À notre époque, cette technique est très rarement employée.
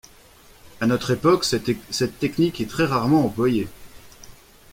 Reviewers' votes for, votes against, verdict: 0, 2, rejected